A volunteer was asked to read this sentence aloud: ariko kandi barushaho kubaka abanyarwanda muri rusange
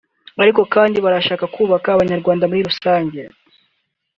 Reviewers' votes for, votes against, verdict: 0, 3, rejected